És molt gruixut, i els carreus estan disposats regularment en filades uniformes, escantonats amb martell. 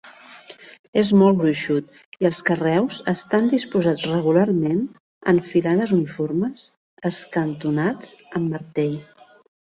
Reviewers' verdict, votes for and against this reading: accepted, 2, 0